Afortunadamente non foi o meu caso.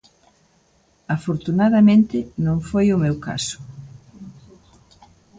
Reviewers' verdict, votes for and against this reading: accepted, 2, 0